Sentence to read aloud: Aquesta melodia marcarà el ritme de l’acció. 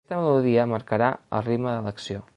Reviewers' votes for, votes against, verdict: 1, 2, rejected